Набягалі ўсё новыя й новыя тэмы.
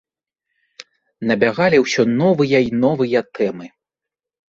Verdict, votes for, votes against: accepted, 2, 0